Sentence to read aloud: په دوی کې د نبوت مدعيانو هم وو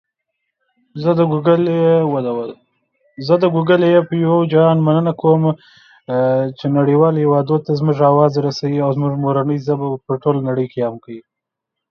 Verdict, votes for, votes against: rejected, 0, 2